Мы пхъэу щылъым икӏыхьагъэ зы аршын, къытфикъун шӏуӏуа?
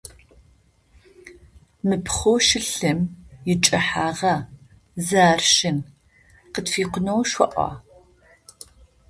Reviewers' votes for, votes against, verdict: 0, 2, rejected